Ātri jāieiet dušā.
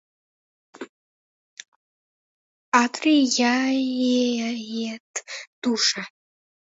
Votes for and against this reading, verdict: 0, 2, rejected